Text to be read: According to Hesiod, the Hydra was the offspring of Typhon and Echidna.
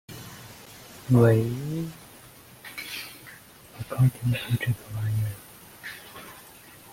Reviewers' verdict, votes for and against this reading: rejected, 0, 2